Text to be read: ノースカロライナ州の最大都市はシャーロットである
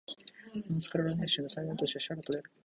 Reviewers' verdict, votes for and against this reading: rejected, 0, 2